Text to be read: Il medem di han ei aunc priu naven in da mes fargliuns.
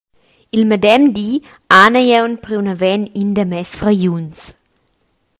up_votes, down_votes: 2, 0